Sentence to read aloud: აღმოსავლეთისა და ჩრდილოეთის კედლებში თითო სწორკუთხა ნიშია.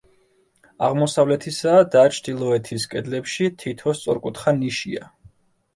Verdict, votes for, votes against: rejected, 1, 2